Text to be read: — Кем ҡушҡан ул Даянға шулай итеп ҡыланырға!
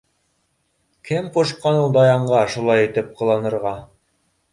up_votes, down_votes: 1, 2